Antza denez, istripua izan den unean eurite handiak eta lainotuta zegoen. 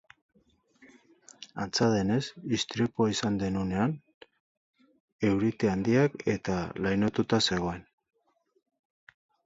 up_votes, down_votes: 2, 2